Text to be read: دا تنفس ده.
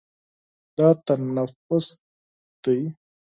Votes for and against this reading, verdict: 4, 6, rejected